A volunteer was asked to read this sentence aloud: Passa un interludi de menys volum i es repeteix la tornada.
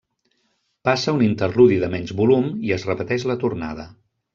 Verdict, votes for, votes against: rejected, 0, 2